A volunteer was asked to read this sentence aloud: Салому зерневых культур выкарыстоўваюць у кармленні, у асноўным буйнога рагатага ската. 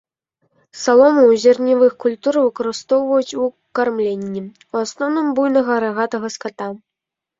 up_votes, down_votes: 1, 2